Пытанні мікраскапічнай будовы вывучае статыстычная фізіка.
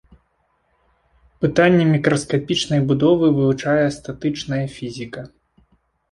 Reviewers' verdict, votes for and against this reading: rejected, 0, 2